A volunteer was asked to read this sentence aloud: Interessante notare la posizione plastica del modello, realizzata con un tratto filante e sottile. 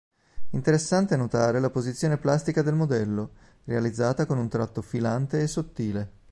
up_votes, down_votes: 2, 0